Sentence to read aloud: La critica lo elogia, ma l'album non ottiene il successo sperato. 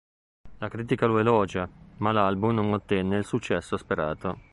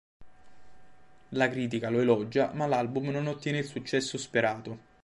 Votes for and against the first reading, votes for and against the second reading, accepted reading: 0, 2, 2, 0, second